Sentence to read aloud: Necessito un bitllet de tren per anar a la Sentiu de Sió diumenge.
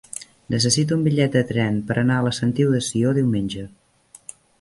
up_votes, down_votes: 3, 0